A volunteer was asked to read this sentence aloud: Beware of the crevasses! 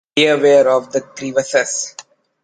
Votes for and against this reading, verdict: 1, 2, rejected